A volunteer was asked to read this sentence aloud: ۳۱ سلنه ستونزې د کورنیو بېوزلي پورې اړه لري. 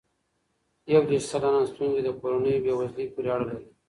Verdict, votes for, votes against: rejected, 0, 2